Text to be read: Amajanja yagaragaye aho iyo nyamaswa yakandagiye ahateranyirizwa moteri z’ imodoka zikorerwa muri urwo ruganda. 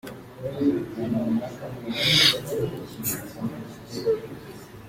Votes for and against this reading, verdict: 0, 2, rejected